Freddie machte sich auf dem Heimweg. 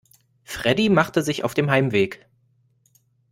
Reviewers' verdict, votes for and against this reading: accepted, 2, 0